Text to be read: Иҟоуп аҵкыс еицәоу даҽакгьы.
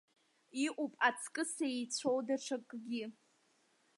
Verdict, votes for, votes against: accepted, 2, 0